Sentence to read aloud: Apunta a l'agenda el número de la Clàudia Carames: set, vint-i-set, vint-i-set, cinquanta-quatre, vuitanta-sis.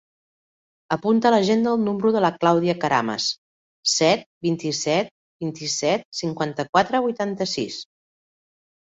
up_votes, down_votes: 2, 0